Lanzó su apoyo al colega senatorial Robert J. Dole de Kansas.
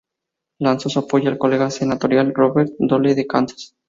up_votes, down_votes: 2, 2